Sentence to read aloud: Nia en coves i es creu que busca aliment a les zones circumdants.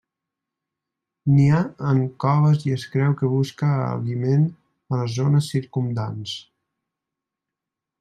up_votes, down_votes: 1, 2